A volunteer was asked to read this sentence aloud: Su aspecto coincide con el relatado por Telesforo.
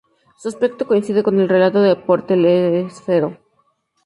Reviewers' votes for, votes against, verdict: 0, 2, rejected